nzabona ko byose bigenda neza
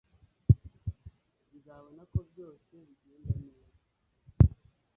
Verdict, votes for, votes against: rejected, 0, 2